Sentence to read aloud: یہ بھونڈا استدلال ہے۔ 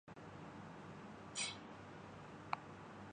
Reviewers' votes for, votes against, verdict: 0, 2, rejected